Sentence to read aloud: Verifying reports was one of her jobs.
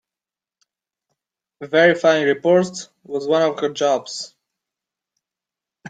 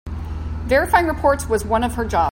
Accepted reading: first